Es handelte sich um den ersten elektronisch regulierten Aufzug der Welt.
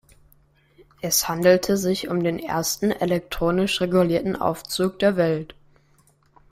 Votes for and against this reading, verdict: 2, 0, accepted